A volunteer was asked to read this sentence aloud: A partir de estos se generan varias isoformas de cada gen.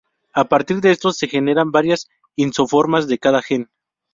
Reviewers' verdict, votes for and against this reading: rejected, 0, 2